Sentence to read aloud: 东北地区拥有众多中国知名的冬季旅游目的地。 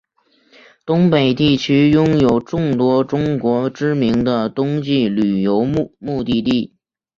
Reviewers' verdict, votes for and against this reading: accepted, 2, 0